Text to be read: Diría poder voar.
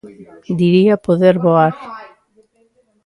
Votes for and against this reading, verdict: 0, 2, rejected